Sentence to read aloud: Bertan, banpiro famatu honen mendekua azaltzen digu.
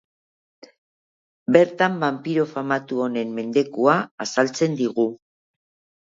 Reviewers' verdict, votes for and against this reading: accepted, 4, 1